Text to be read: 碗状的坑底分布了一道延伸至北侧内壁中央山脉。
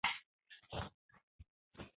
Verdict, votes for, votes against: rejected, 0, 2